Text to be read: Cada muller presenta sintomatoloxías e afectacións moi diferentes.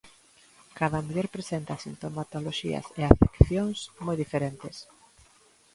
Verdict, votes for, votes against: rejected, 0, 2